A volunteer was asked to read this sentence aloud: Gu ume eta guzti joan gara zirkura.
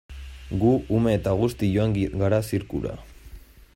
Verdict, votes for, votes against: rejected, 0, 2